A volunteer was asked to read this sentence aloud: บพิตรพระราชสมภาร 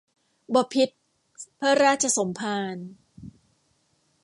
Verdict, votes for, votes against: rejected, 1, 2